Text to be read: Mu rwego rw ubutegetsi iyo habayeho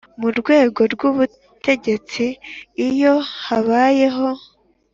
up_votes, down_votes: 3, 0